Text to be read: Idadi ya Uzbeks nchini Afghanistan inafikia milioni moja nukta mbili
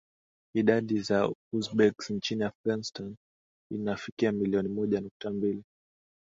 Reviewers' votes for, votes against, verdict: 2, 1, accepted